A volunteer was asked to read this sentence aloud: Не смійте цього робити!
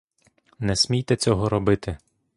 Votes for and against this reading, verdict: 2, 0, accepted